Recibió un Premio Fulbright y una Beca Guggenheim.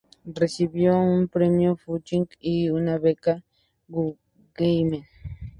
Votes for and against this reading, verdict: 0, 2, rejected